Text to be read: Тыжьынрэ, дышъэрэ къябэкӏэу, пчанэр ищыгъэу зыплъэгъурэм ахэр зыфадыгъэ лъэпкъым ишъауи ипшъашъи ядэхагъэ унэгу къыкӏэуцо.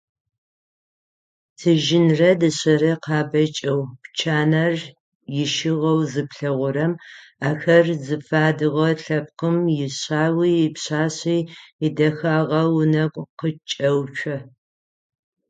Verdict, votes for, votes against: accepted, 6, 3